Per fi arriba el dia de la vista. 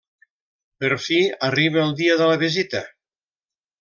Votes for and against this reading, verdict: 1, 2, rejected